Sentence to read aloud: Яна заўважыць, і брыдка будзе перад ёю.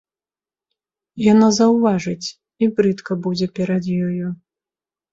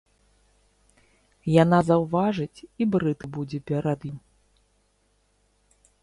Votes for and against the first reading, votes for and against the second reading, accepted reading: 2, 0, 0, 2, first